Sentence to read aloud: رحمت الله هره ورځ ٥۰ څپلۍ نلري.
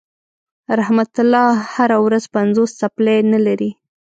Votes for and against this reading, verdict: 0, 2, rejected